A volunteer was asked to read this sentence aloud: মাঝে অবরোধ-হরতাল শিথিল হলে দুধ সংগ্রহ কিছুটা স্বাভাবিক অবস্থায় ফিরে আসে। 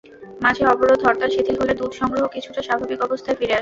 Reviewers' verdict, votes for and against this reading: rejected, 0, 2